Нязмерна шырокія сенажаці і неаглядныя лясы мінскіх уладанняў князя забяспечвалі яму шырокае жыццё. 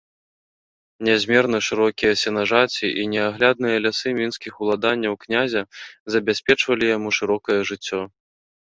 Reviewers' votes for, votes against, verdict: 2, 0, accepted